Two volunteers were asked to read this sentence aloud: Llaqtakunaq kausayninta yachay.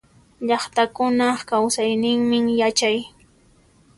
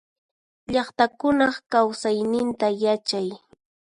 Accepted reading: second